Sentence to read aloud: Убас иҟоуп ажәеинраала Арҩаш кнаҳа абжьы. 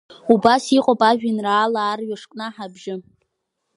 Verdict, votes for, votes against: accepted, 3, 0